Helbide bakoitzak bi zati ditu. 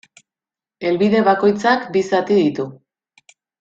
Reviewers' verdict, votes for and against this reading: accepted, 2, 0